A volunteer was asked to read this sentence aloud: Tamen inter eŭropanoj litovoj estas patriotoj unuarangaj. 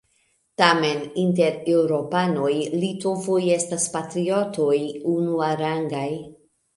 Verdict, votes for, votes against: rejected, 0, 2